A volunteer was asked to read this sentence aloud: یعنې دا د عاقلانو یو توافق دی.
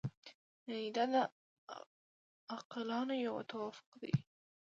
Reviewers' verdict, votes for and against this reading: rejected, 1, 2